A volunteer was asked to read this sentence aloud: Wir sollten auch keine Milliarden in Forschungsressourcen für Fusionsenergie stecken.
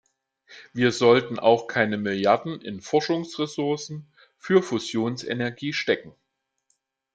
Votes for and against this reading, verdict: 2, 0, accepted